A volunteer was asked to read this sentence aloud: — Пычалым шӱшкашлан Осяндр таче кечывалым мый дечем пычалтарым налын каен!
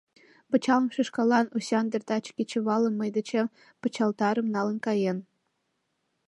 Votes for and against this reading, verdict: 2, 1, accepted